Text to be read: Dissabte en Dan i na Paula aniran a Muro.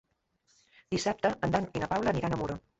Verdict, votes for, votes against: accepted, 3, 0